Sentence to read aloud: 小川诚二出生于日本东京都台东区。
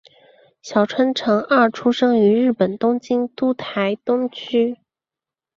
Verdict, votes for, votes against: accepted, 2, 1